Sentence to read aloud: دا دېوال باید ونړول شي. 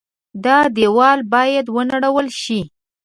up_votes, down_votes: 2, 0